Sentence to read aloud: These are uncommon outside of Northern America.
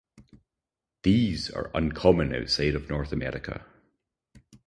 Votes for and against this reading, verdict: 0, 2, rejected